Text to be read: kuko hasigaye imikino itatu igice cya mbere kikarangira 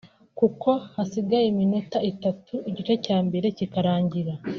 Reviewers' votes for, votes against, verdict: 0, 2, rejected